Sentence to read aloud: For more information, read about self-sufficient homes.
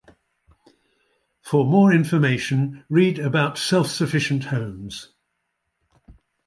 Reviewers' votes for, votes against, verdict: 2, 0, accepted